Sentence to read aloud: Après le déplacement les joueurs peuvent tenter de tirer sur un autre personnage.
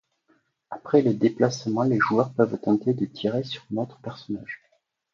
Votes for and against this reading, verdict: 1, 2, rejected